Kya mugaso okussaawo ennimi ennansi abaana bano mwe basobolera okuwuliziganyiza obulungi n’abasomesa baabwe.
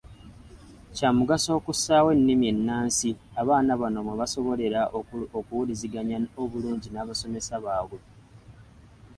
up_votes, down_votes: 2, 0